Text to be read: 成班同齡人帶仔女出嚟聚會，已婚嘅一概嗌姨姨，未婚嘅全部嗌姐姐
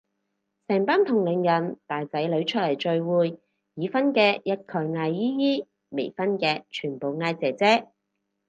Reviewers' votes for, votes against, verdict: 4, 0, accepted